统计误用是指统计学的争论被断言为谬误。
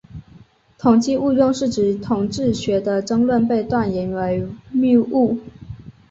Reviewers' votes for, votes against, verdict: 3, 1, accepted